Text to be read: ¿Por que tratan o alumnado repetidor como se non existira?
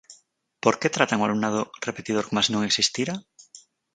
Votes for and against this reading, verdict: 4, 2, accepted